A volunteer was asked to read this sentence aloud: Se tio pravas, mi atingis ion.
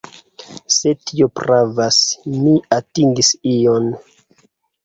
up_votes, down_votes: 2, 0